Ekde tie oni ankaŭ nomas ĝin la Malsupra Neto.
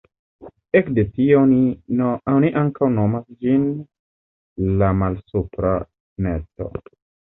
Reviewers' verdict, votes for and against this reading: rejected, 1, 2